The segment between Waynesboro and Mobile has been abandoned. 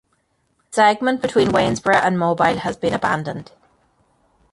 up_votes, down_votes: 0, 2